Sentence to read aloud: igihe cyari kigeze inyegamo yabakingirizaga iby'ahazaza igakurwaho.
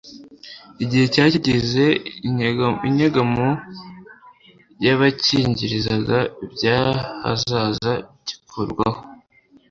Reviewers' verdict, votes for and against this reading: rejected, 1, 2